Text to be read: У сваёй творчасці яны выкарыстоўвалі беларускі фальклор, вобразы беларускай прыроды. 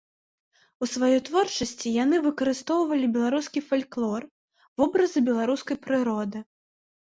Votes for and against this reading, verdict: 3, 1, accepted